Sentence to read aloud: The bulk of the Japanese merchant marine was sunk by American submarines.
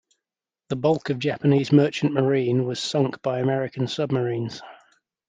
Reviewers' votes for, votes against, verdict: 1, 2, rejected